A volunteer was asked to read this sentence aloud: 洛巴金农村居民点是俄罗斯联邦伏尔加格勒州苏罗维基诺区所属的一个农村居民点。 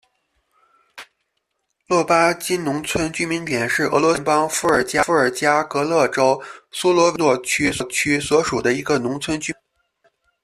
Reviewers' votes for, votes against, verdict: 1, 2, rejected